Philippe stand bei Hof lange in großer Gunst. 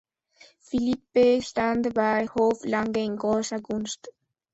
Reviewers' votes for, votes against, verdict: 2, 0, accepted